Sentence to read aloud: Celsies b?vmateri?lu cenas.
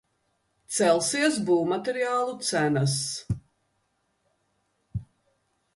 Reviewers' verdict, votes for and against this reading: rejected, 0, 2